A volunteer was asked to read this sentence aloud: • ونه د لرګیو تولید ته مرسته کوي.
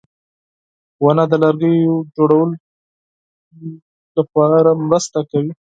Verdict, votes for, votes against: rejected, 2, 4